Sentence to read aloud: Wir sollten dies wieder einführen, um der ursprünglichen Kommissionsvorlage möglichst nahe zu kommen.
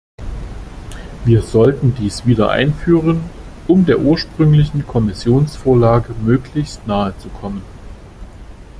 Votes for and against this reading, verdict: 2, 0, accepted